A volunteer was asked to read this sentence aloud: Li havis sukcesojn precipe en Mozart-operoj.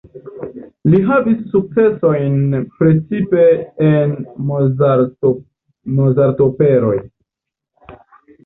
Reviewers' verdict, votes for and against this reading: rejected, 1, 2